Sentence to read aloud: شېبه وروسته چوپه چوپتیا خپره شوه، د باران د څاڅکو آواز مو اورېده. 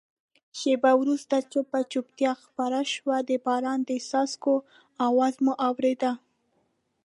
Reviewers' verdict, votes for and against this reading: accepted, 2, 0